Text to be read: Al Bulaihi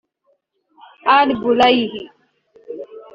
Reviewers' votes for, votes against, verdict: 0, 2, rejected